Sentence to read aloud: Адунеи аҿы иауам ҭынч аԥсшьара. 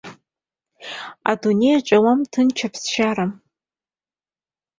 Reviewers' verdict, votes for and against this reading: accepted, 2, 0